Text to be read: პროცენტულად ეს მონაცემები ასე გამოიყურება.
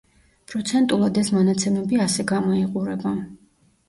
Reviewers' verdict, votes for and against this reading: accepted, 2, 0